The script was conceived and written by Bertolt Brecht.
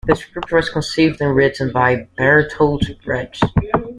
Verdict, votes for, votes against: rejected, 0, 2